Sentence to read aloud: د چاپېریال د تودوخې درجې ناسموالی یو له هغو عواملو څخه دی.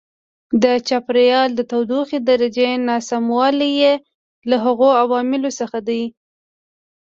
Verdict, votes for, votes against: rejected, 1, 2